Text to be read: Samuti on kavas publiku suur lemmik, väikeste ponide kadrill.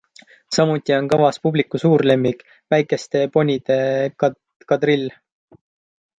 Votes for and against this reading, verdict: 0, 3, rejected